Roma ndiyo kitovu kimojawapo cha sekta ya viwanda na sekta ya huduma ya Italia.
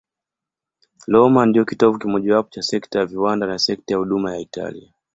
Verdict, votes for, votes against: accepted, 15, 1